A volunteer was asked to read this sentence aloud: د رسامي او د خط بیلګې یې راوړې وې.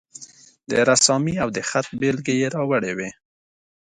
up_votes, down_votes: 2, 0